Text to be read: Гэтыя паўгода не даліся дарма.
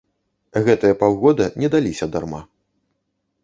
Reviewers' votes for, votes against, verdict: 2, 0, accepted